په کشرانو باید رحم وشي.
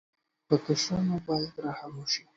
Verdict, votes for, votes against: accepted, 2, 0